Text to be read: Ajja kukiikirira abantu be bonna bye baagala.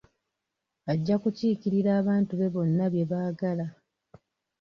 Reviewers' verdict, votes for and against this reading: rejected, 1, 2